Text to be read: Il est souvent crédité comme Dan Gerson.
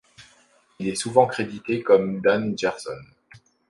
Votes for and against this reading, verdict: 2, 0, accepted